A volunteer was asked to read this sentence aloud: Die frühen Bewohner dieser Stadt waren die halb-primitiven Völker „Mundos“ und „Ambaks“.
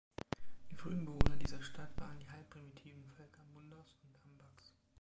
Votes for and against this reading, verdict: 0, 2, rejected